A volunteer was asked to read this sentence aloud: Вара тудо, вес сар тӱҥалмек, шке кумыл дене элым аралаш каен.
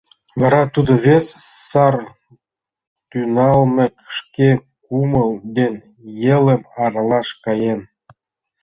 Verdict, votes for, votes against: rejected, 1, 2